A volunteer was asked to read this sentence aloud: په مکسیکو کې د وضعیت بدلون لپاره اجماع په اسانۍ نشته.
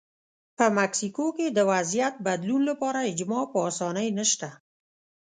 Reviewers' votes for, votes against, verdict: 1, 2, rejected